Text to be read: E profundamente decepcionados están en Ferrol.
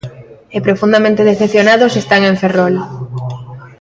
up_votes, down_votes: 2, 0